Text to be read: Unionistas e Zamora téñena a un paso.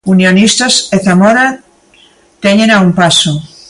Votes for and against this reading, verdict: 2, 0, accepted